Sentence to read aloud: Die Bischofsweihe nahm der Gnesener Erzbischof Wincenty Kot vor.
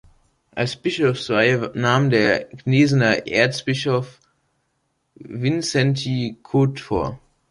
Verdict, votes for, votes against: rejected, 0, 2